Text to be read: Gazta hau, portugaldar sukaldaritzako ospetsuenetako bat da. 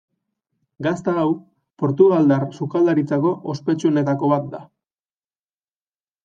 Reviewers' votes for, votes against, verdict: 2, 0, accepted